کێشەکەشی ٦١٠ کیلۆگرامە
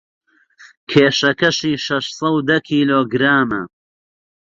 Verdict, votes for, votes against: rejected, 0, 2